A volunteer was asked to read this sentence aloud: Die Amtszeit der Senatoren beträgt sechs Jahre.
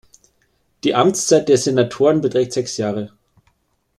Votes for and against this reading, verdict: 2, 0, accepted